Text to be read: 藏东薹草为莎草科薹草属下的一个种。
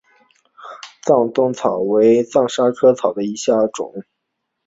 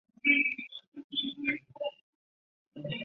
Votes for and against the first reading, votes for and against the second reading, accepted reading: 5, 0, 2, 3, first